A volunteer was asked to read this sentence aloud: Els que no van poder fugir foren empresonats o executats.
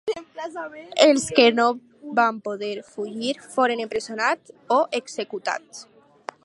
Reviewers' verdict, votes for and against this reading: rejected, 2, 2